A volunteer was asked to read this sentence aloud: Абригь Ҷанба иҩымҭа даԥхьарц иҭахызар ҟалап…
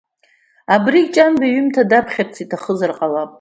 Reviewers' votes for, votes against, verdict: 2, 0, accepted